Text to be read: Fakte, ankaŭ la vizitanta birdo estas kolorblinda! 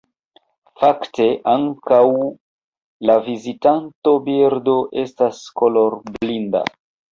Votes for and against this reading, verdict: 2, 0, accepted